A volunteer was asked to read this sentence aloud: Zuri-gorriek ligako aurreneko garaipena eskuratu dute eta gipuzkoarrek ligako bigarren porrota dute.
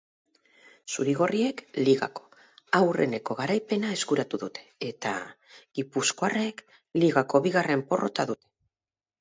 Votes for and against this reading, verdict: 2, 4, rejected